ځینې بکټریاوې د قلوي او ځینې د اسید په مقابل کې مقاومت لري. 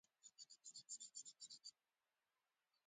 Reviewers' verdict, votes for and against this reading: rejected, 0, 2